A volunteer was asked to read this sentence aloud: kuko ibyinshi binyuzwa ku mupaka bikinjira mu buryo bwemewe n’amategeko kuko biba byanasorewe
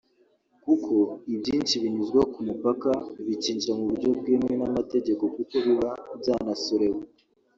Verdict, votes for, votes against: rejected, 1, 2